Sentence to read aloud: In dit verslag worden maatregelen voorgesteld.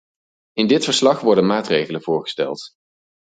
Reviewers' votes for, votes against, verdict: 4, 0, accepted